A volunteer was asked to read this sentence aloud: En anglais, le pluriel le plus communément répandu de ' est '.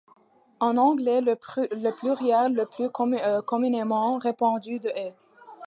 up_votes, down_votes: 0, 2